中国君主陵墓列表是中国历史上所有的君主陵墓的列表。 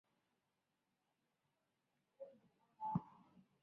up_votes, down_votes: 0, 3